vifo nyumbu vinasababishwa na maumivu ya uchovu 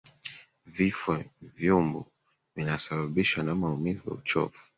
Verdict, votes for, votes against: rejected, 0, 2